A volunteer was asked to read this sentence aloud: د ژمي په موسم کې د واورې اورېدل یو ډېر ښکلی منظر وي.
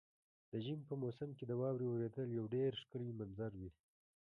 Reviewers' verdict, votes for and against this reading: rejected, 0, 2